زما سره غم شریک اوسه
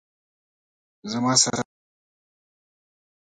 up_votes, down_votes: 0, 2